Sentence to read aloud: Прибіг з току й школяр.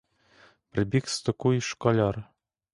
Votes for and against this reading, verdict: 2, 0, accepted